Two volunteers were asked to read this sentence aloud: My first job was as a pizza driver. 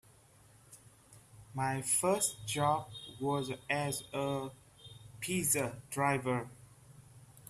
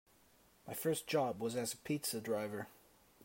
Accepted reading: second